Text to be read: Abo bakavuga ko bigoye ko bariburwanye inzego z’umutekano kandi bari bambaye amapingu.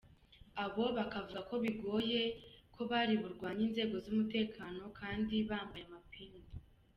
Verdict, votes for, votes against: accepted, 2, 1